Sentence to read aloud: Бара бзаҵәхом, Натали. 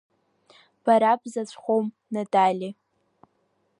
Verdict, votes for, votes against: accepted, 5, 0